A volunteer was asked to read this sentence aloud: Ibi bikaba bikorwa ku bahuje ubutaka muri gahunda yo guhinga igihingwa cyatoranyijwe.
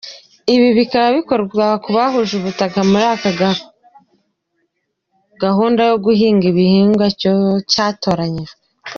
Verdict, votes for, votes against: rejected, 1, 4